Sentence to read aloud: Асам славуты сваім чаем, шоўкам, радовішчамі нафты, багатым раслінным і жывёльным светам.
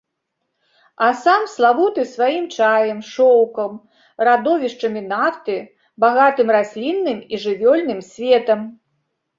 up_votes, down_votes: 2, 0